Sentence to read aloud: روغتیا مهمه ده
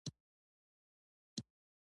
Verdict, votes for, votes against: accepted, 2, 1